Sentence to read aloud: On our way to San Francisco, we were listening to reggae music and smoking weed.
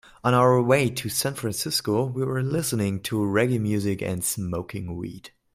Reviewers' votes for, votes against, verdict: 2, 0, accepted